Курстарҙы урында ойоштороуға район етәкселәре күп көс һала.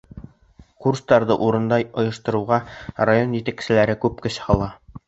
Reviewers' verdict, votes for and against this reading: rejected, 1, 2